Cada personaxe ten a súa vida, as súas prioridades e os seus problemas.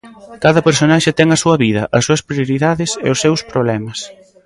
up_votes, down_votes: 0, 2